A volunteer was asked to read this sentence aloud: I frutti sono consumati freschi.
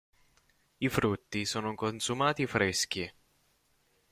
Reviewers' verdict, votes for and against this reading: accepted, 2, 0